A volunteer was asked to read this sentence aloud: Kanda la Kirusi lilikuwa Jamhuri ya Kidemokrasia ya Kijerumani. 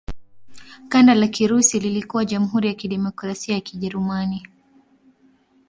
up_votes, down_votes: 2, 0